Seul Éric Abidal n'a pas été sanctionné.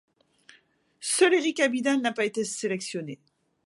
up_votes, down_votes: 0, 2